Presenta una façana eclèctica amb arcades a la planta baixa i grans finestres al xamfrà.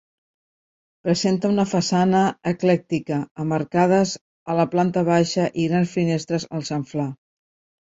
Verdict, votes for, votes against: rejected, 1, 2